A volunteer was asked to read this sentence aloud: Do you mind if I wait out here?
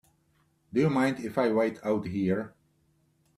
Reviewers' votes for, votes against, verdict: 2, 0, accepted